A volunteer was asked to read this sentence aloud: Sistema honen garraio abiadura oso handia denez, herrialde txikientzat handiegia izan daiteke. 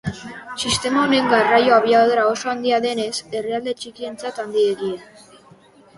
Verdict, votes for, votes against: rejected, 0, 2